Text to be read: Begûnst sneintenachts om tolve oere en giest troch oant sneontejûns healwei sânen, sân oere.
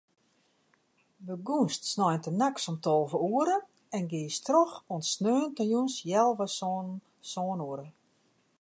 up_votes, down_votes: 2, 0